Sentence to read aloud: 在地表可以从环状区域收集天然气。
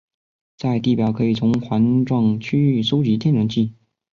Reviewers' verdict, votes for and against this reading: accepted, 2, 0